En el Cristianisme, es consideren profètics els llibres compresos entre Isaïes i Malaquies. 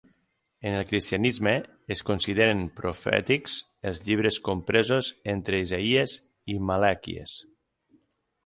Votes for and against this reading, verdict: 3, 6, rejected